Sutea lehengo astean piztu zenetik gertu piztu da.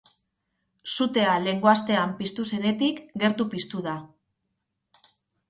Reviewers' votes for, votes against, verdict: 2, 0, accepted